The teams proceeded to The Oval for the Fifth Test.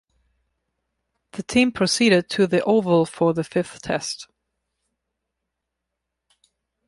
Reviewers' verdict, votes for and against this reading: rejected, 0, 2